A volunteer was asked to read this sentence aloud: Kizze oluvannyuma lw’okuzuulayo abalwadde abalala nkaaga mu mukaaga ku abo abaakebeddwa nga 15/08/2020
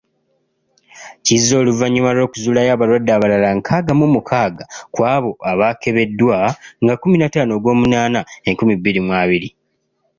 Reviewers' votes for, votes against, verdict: 0, 2, rejected